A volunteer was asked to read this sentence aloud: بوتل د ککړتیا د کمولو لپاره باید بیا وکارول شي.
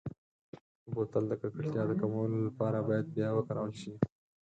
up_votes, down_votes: 4, 2